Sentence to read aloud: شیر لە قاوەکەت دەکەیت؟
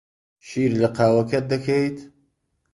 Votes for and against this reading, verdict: 2, 0, accepted